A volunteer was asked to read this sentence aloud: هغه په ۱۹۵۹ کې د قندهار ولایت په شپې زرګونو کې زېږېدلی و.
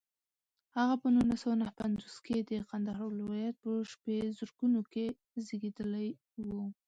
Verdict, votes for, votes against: rejected, 0, 2